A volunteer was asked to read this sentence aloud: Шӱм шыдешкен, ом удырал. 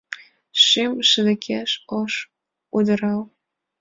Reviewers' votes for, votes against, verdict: 1, 2, rejected